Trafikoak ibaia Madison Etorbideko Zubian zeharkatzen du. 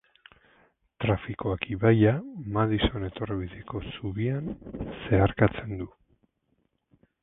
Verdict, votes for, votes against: rejected, 2, 4